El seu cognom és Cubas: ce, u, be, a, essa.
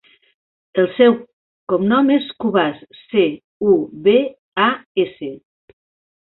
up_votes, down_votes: 1, 3